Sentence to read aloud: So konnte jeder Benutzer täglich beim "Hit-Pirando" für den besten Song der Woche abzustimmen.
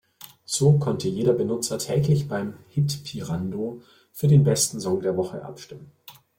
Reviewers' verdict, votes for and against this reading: rejected, 1, 2